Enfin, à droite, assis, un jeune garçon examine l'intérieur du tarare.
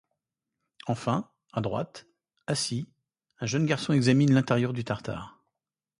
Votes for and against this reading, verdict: 0, 2, rejected